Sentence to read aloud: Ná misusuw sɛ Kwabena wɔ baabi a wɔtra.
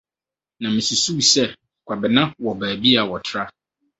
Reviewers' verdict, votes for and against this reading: accepted, 4, 0